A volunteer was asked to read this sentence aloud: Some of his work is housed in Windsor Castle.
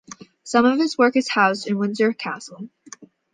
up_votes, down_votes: 2, 0